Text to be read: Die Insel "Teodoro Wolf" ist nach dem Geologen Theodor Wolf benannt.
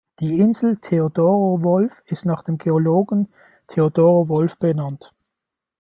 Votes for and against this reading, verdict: 1, 2, rejected